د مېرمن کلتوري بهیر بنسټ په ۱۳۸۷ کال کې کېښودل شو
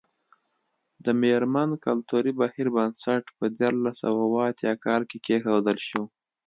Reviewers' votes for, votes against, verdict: 0, 2, rejected